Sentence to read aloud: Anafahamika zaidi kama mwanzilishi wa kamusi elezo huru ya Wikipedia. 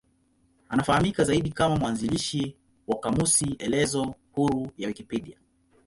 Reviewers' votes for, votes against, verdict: 2, 0, accepted